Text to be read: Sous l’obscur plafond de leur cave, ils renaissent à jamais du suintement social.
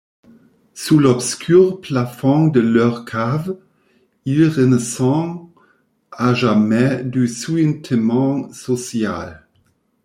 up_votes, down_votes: 0, 2